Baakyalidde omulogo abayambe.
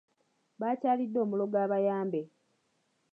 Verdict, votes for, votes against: accepted, 2, 0